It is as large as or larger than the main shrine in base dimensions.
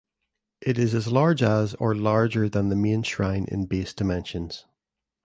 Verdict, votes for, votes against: accepted, 2, 0